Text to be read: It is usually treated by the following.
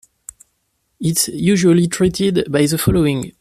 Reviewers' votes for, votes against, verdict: 1, 2, rejected